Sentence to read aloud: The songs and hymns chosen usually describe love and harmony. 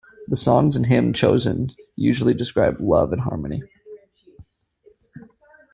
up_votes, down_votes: 1, 2